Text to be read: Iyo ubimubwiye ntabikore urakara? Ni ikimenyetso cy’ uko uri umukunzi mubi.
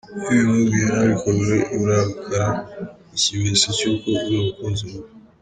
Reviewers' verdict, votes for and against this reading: rejected, 0, 2